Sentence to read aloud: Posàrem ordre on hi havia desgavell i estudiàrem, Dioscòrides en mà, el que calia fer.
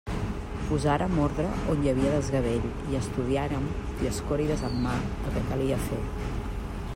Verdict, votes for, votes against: accepted, 2, 0